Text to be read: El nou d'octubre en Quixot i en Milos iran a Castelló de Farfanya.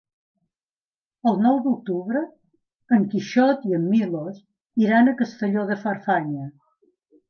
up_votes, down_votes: 4, 0